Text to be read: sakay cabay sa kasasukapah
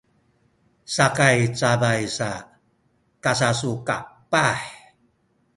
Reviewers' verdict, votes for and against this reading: rejected, 1, 2